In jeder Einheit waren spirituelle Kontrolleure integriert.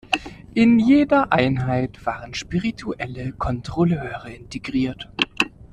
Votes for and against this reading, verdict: 2, 0, accepted